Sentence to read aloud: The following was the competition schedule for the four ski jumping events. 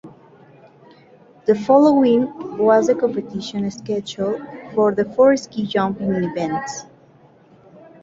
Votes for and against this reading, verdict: 2, 0, accepted